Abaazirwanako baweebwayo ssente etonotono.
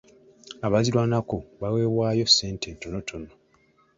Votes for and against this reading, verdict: 2, 0, accepted